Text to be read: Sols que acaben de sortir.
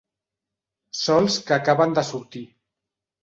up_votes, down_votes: 3, 1